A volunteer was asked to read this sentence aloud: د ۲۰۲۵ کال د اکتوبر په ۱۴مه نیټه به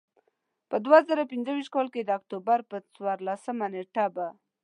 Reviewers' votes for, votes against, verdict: 0, 2, rejected